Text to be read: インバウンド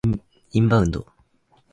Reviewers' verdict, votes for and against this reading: accepted, 4, 0